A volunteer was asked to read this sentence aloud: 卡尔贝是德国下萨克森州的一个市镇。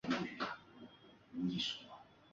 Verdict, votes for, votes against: rejected, 2, 3